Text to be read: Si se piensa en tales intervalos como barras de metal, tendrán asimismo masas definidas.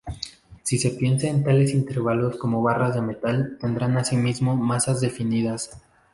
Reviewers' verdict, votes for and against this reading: accepted, 2, 0